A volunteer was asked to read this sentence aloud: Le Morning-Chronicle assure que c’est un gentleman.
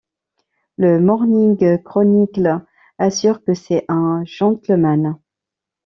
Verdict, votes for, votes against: rejected, 1, 2